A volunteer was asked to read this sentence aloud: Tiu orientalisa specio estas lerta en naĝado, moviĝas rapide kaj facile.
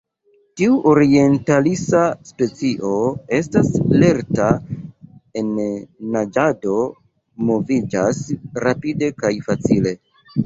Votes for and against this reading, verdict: 2, 0, accepted